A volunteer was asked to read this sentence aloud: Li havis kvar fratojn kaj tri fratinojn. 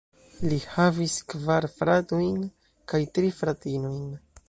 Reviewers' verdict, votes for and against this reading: rejected, 1, 2